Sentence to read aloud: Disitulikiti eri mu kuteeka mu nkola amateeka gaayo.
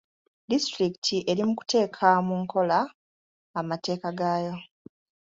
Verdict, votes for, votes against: accepted, 2, 0